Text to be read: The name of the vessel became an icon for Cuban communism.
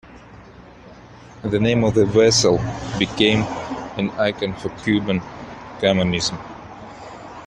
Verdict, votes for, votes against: rejected, 1, 2